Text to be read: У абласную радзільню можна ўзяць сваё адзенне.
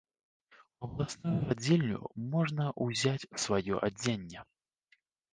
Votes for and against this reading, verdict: 1, 2, rejected